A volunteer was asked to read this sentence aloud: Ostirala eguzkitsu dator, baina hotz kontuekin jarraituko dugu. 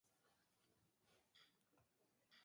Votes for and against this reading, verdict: 0, 2, rejected